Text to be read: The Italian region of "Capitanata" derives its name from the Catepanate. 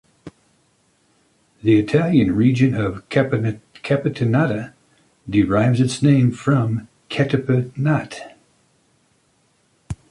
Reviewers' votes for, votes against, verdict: 0, 2, rejected